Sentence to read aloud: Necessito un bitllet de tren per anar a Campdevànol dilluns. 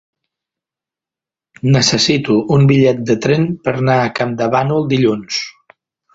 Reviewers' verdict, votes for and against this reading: rejected, 1, 2